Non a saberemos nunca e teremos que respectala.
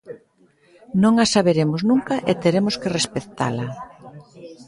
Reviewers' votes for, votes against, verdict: 1, 2, rejected